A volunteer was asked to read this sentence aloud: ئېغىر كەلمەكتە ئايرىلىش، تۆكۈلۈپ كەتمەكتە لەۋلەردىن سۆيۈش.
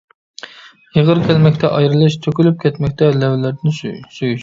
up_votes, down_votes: 0, 2